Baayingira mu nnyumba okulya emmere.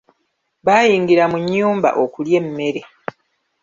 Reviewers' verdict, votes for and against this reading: rejected, 1, 2